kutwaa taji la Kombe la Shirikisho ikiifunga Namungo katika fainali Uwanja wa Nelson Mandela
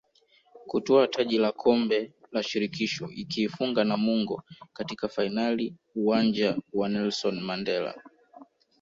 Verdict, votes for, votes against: rejected, 1, 2